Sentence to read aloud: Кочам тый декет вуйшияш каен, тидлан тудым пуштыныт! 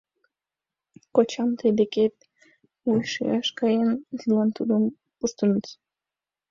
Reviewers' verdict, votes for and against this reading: accepted, 2, 1